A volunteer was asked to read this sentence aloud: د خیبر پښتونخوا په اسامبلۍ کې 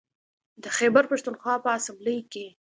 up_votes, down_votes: 2, 0